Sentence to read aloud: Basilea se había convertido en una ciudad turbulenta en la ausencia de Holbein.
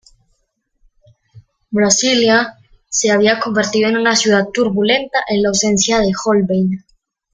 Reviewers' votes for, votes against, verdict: 1, 2, rejected